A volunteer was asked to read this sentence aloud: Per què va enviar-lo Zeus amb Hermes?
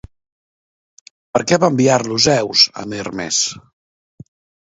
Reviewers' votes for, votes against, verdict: 2, 0, accepted